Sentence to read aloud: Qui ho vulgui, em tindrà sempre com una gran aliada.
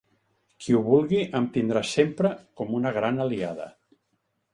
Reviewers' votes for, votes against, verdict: 3, 0, accepted